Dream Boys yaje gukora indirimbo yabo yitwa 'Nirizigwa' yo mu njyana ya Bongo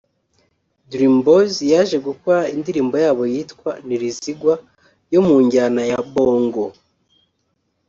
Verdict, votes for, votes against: rejected, 1, 2